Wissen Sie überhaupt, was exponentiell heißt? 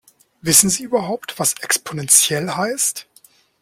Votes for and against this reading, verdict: 2, 0, accepted